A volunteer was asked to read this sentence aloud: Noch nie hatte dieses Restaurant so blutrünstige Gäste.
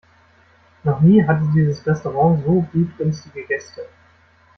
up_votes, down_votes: 2, 0